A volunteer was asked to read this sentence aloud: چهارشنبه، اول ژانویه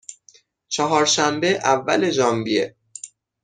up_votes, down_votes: 6, 0